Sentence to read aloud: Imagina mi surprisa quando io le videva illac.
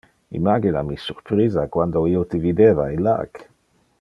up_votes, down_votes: 0, 2